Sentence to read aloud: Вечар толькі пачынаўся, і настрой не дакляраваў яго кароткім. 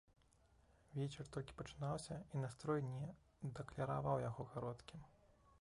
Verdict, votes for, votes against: rejected, 1, 3